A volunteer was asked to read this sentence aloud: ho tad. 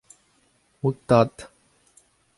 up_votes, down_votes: 2, 0